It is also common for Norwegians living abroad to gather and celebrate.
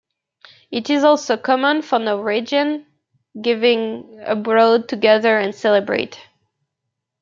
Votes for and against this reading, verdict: 1, 2, rejected